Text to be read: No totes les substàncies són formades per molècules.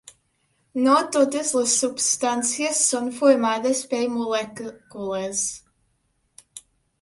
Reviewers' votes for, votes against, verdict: 1, 2, rejected